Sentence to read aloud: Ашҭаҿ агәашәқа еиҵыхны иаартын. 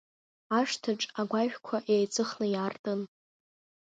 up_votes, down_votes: 2, 1